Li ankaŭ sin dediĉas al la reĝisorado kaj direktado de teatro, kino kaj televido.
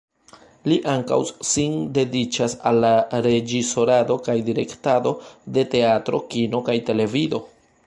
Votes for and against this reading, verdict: 0, 2, rejected